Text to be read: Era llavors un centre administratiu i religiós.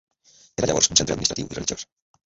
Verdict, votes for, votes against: rejected, 0, 2